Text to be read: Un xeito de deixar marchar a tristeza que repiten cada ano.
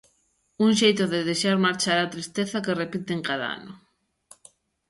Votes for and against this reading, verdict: 2, 1, accepted